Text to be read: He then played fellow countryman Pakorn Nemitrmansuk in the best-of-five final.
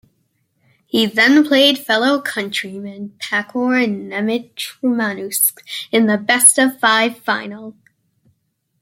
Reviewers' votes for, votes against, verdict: 1, 2, rejected